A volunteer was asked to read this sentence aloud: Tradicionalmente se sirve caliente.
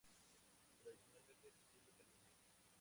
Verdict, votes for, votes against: rejected, 0, 2